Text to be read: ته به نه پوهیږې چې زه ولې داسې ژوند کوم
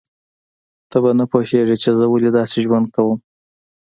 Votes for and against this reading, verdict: 2, 0, accepted